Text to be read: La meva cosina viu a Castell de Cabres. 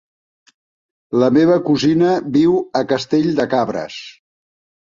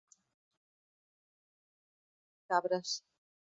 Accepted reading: first